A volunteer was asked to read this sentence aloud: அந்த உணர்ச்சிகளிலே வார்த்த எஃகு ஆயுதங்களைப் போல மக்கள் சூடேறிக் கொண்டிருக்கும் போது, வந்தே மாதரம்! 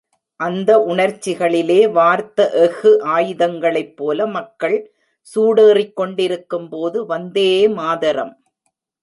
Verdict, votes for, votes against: rejected, 1, 2